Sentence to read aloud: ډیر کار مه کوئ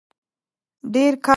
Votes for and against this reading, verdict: 0, 2, rejected